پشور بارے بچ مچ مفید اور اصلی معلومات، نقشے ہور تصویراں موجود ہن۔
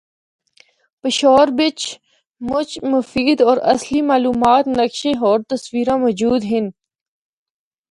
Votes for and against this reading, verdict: 1, 2, rejected